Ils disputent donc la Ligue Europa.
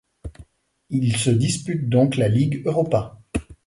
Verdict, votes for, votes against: rejected, 1, 2